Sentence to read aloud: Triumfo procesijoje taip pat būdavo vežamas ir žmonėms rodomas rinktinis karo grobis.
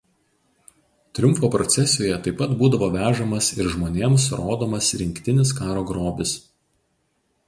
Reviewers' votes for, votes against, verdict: 0, 2, rejected